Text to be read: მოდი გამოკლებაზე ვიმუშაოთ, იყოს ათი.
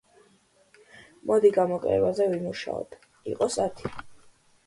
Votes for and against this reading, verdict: 2, 0, accepted